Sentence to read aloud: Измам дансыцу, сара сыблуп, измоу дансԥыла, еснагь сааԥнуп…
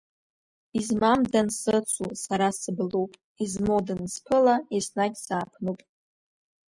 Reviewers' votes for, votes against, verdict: 2, 0, accepted